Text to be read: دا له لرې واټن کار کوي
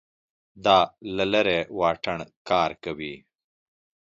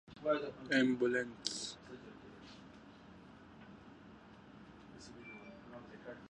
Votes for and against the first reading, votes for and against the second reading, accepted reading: 3, 0, 0, 2, first